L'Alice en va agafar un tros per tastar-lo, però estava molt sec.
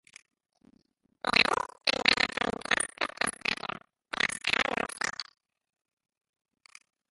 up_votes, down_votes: 0, 3